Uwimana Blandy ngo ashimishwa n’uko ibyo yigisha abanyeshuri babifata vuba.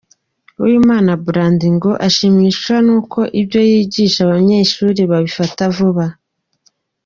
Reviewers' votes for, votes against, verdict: 2, 0, accepted